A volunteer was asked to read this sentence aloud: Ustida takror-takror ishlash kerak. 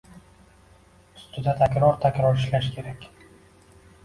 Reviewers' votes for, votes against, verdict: 2, 1, accepted